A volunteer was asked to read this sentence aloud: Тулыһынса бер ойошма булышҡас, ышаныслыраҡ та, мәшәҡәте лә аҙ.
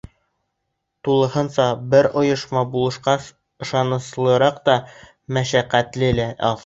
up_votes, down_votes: 0, 2